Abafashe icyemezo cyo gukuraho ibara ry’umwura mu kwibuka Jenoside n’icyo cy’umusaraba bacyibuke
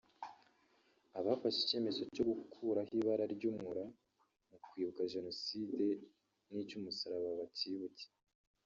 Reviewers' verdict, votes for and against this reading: rejected, 0, 2